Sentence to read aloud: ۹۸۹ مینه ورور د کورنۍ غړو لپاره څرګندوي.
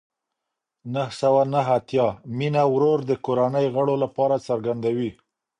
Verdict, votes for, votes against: rejected, 0, 2